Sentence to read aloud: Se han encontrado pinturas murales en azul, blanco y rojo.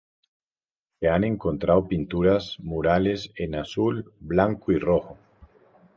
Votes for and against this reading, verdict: 2, 0, accepted